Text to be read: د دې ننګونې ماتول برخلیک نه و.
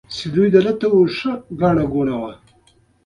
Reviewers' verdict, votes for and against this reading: rejected, 1, 2